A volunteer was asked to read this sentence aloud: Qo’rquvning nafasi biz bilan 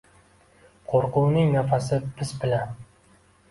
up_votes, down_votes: 2, 0